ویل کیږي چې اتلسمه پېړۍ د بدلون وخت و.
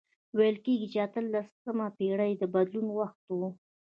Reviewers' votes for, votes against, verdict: 1, 2, rejected